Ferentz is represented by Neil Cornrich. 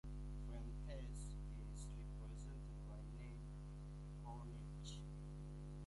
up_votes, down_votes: 0, 2